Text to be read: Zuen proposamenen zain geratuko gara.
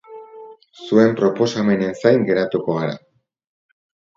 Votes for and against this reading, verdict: 0, 2, rejected